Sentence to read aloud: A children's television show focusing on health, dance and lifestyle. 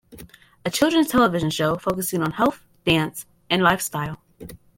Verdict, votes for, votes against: accepted, 2, 0